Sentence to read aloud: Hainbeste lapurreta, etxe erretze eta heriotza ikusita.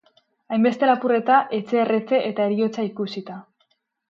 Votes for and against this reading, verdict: 0, 2, rejected